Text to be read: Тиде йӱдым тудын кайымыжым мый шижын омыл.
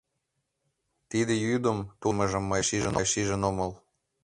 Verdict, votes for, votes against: rejected, 3, 5